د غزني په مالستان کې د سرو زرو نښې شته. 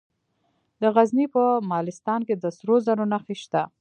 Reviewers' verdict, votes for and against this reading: accepted, 2, 0